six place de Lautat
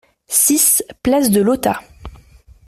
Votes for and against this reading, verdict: 2, 0, accepted